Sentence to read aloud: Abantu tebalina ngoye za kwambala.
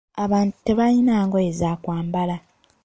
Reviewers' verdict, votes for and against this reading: accepted, 2, 1